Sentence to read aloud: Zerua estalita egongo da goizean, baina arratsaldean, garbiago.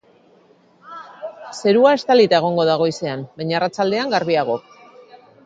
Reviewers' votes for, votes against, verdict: 2, 0, accepted